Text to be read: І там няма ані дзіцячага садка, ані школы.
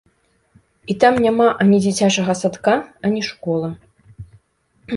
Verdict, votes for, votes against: accepted, 3, 1